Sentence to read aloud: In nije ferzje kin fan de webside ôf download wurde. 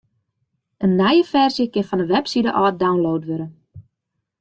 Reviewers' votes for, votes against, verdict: 2, 0, accepted